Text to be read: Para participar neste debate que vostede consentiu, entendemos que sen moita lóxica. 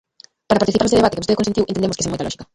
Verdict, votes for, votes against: rejected, 0, 2